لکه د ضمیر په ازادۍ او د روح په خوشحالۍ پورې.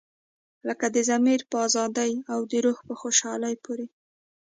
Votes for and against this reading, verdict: 4, 1, accepted